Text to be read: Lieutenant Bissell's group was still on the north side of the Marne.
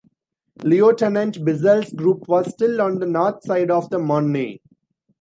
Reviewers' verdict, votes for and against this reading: rejected, 0, 2